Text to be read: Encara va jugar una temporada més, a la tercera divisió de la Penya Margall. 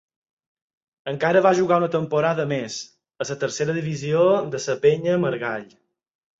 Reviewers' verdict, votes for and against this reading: accepted, 4, 0